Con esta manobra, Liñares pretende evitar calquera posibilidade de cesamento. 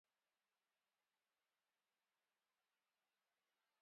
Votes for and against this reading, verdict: 0, 4, rejected